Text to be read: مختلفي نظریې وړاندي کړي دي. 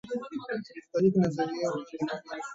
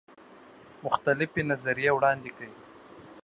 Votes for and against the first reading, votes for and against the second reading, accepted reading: 2, 1, 1, 2, first